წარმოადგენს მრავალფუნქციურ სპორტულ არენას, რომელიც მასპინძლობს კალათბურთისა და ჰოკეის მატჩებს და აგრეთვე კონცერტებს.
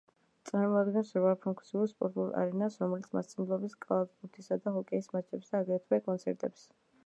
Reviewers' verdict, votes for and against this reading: rejected, 1, 2